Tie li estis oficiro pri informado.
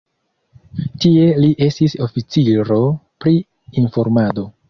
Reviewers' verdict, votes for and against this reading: accepted, 2, 0